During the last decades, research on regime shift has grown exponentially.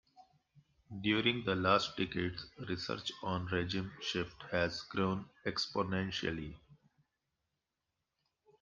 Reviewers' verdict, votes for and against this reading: accepted, 2, 0